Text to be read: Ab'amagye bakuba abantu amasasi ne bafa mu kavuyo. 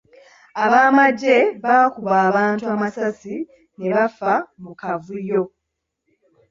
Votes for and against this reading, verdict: 2, 0, accepted